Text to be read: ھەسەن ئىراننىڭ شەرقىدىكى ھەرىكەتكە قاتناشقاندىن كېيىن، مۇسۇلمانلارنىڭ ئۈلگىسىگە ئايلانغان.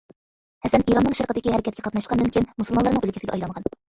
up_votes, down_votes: 0, 2